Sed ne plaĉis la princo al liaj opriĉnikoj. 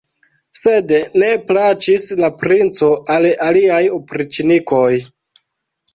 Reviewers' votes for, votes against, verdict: 1, 2, rejected